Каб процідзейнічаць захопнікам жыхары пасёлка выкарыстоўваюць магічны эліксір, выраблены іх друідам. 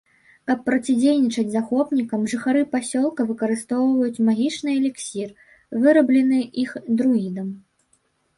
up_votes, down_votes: 2, 0